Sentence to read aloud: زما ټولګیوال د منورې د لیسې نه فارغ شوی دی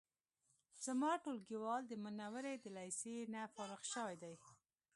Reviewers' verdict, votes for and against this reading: accepted, 2, 0